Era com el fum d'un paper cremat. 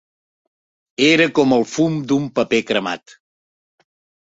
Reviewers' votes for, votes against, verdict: 3, 0, accepted